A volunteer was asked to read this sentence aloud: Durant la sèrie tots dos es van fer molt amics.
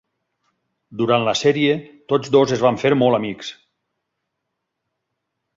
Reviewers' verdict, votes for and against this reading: accepted, 8, 0